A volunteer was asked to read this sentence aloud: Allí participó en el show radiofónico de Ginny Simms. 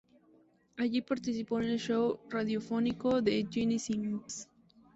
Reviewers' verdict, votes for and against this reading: accepted, 2, 0